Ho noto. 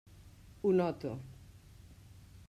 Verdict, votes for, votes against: accepted, 3, 0